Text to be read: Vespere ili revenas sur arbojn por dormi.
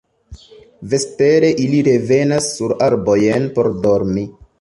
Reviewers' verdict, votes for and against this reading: accepted, 2, 0